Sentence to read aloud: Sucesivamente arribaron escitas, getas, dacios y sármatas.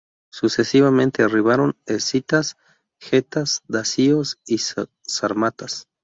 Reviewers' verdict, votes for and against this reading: rejected, 0, 2